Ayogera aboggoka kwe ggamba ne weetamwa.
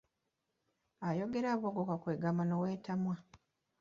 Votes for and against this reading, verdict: 2, 1, accepted